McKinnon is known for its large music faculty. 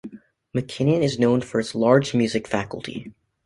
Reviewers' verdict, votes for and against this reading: accepted, 2, 0